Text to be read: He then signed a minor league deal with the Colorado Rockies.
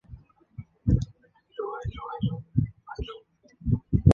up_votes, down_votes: 0, 2